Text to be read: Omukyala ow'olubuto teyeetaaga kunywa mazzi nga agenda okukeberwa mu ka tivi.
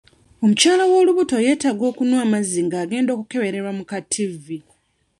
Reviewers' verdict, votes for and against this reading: rejected, 2, 3